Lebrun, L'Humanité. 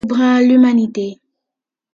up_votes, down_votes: 2, 1